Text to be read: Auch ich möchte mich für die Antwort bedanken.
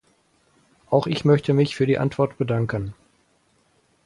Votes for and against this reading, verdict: 4, 0, accepted